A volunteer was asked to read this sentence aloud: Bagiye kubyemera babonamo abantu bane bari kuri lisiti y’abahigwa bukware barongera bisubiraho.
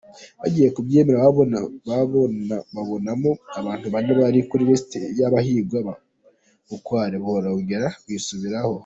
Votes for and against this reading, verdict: 0, 2, rejected